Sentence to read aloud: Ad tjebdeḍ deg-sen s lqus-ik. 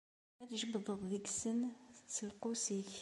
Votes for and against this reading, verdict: 2, 0, accepted